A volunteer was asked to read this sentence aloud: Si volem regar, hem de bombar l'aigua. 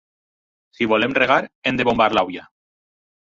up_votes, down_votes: 0, 4